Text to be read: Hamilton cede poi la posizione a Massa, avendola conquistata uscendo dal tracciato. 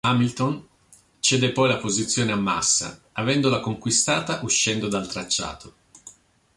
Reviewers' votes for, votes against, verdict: 2, 0, accepted